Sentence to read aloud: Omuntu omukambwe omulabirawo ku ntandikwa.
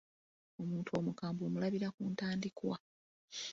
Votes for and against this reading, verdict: 1, 2, rejected